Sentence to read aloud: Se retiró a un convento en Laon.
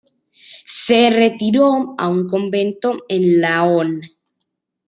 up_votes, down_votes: 2, 0